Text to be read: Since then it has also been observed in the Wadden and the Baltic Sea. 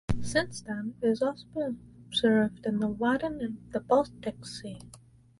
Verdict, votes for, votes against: rejected, 2, 2